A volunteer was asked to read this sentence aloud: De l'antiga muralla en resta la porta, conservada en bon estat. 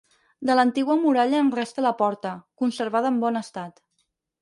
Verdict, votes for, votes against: accepted, 4, 2